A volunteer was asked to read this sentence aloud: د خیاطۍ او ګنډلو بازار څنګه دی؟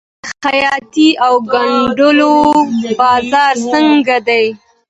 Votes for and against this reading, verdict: 2, 0, accepted